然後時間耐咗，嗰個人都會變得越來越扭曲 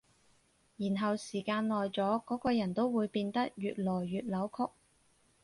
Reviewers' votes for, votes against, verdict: 4, 0, accepted